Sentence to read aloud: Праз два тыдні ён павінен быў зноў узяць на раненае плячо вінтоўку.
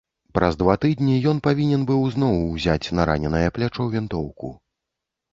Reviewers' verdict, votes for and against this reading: rejected, 0, 2